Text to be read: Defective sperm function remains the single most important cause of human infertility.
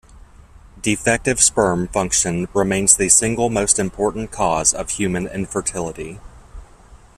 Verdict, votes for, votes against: accepted, 2, 0